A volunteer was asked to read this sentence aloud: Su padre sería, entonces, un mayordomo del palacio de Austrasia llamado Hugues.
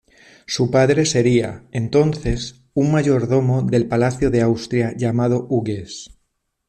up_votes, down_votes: 2, 1